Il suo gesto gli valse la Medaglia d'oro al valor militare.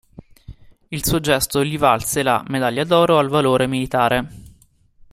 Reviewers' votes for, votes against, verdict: 0, 2, rejected